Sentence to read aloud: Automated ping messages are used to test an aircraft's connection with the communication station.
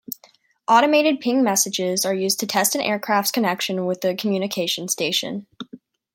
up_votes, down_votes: 2, 0